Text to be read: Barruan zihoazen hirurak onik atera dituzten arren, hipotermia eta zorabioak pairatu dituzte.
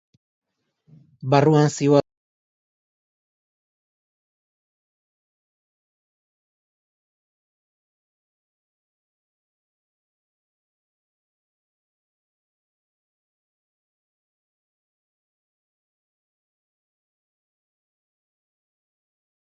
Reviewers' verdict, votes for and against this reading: rejected, 0, 2